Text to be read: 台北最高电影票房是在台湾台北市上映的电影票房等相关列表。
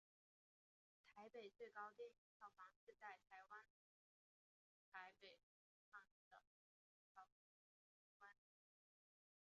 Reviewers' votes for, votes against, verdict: 3, 4, rejected